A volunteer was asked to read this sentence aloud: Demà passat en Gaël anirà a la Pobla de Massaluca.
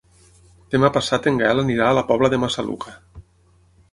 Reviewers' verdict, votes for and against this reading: accepted, 12, 0